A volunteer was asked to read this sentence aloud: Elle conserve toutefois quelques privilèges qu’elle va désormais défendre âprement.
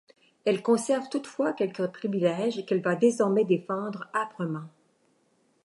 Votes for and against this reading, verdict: 2, 0, accepted